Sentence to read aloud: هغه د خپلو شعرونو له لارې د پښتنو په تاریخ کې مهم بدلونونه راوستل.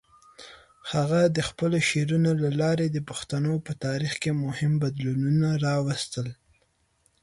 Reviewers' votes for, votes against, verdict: 3, 0, accepted